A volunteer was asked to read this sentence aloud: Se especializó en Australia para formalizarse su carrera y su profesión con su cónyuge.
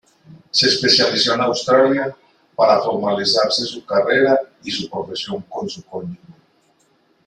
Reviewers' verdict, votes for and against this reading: rejected, 1, 2